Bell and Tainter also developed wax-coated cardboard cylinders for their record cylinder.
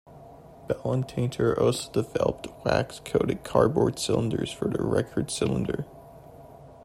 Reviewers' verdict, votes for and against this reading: rejected, 1, 2